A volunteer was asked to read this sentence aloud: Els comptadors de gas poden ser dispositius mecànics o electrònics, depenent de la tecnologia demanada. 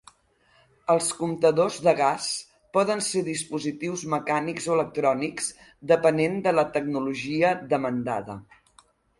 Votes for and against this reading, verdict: 0, 2, rejected